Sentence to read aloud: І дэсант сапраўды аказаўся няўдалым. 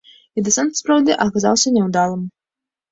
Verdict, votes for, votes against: accepted, 2, 0